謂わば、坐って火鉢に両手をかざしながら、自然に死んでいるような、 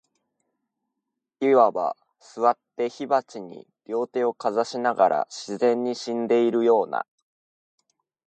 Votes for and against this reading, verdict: 6, 0, accepted